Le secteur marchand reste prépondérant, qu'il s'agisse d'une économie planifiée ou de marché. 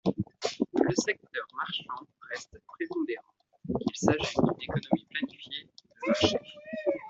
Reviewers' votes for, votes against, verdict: 0, 2, rejected